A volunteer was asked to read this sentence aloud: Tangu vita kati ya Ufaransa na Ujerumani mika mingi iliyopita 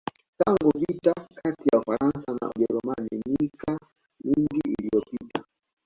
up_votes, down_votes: 2, 1